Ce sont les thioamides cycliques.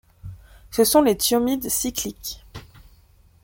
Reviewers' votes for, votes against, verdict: 1, 2, rejected